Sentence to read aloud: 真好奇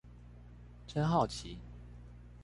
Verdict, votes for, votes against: accepted, 2, 0